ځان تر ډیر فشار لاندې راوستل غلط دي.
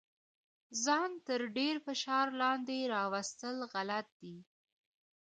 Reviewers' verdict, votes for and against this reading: rejected, 0, 2